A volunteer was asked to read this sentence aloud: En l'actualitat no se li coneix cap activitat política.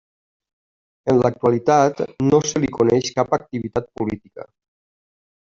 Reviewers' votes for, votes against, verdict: 1, 2, rejected